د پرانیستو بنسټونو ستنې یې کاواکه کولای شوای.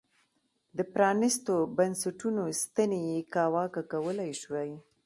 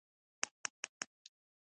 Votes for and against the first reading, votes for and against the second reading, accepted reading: 3, 0, 1, 2, first